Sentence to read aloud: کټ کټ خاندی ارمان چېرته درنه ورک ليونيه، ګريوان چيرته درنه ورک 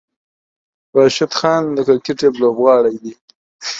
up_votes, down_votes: 0, 2